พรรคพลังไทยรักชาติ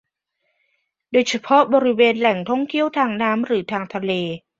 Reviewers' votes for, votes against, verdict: 0, 2, rejected